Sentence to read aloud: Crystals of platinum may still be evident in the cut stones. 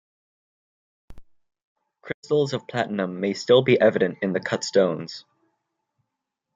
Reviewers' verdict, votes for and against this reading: rejected, 0, 2